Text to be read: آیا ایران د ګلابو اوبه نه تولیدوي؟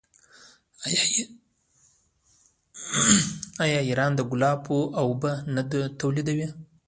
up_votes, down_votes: 0, 2